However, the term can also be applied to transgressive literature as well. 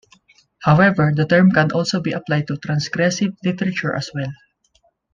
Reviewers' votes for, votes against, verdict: 2, 0, accepted